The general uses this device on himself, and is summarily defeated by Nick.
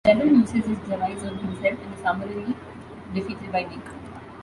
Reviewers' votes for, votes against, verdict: 0, 2, rejected